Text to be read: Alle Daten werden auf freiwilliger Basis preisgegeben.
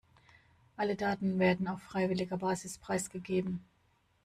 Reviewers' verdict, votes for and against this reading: rejected, 1, 2